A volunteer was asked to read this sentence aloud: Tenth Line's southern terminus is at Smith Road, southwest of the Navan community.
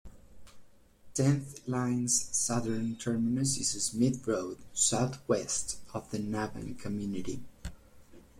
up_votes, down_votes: 1, 2